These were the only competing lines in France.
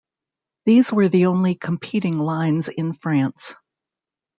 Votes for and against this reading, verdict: 2, 0, accepted